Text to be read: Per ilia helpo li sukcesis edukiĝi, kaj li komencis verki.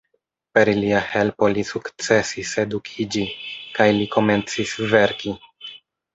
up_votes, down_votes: 0, 2